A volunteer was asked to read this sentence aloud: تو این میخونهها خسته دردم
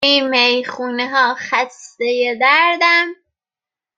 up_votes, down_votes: 0, 2